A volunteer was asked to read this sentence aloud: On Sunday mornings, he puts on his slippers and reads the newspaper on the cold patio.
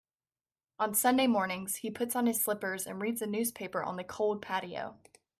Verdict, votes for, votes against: accepted, 2, 0